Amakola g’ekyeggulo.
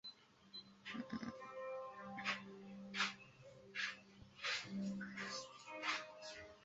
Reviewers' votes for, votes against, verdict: 0, 2, rejected